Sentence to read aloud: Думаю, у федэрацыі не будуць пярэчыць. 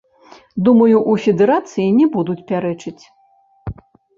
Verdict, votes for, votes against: rejected, 1, 2